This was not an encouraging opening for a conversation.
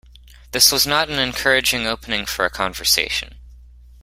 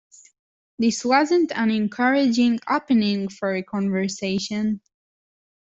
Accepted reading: first